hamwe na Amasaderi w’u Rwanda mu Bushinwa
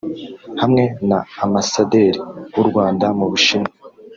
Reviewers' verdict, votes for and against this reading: rejected, 0, 2